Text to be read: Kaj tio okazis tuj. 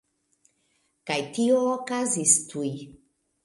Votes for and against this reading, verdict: 1, 2, rejected